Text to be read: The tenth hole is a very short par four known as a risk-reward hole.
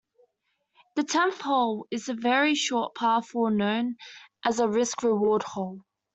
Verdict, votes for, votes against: accepted, 2, 0